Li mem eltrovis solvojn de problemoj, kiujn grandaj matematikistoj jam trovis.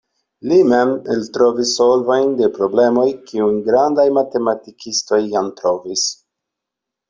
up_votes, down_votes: 2, 0